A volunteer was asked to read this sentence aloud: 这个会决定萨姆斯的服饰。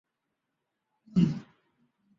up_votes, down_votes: 0, 3